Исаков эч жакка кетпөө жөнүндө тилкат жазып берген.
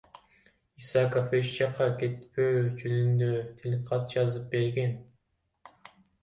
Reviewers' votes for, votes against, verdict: 1, 2, rejected